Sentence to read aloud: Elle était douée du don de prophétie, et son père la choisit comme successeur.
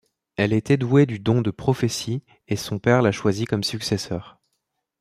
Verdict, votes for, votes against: accepted, 2, 0